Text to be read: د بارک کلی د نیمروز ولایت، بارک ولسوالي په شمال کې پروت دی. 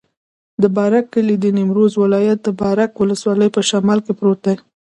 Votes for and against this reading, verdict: 2, 0, accepted